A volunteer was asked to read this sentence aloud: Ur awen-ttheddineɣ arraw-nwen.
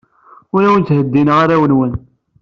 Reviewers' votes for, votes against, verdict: 2, 0, accepted